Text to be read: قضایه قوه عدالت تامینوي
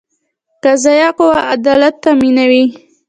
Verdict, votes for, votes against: accepted, 2, 0